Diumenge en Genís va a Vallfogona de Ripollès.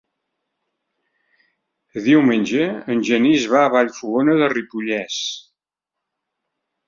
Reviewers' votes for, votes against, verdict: 2, 0, accepted